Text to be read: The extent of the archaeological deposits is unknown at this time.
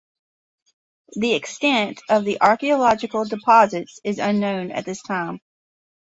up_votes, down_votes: 3, 0